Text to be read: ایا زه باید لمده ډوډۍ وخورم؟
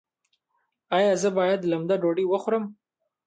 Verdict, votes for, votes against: accepted, 2, 1